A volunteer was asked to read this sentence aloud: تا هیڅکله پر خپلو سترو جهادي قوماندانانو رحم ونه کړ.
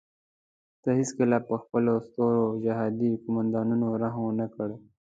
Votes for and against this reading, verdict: 2, 0, accepted